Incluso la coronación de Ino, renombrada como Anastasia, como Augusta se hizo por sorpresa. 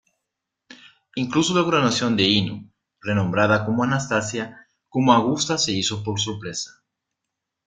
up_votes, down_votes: 2, 1